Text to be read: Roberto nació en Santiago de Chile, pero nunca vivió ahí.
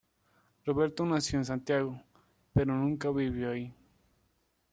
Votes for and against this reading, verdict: 1, 2, rejected